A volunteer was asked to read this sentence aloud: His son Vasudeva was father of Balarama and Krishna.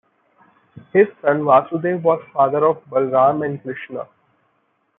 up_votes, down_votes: 2, 1